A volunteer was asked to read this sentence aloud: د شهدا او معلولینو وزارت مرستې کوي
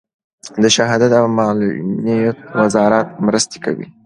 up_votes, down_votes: 2, 0